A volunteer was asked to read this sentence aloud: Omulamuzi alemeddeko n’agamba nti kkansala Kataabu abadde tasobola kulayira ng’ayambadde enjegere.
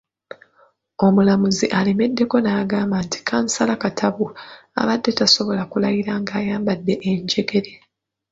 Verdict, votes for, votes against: rejected, 1, 2